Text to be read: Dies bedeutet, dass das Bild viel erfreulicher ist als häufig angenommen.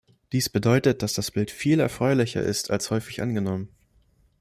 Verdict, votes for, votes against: accepted, 2, 0